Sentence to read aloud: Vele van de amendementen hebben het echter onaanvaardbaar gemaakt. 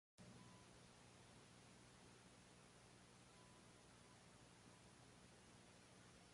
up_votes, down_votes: 0, 2